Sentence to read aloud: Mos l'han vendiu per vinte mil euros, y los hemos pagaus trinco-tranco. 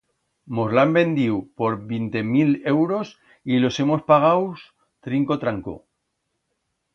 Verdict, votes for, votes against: rejected, 1, 2